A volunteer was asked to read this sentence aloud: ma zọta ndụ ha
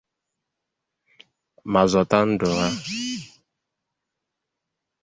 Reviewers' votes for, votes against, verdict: 0, 2, rejected